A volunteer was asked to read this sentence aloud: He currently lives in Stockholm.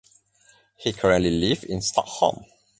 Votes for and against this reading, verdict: 0, 2, rejected